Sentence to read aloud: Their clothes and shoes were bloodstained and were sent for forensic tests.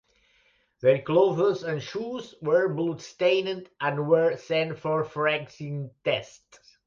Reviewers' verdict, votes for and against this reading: rejected, 1, 2